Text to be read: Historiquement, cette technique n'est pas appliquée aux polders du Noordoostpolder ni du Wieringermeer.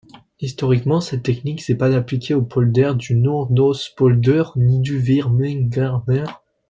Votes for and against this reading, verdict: 1, 2, rejected